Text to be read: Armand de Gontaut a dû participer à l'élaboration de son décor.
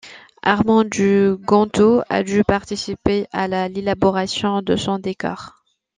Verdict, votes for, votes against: accepted, 2, 0